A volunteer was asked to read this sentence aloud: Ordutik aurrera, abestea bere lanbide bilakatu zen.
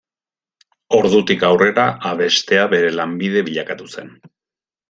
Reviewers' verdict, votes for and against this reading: accepted, 2, 0